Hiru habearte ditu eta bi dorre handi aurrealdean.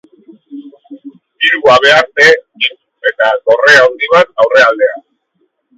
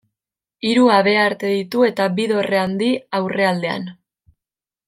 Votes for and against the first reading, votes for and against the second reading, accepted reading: 0, 3, 2, 0, second